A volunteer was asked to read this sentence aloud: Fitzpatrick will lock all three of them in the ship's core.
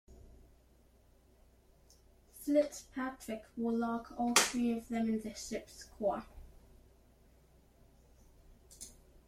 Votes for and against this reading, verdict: 2, 1, accepted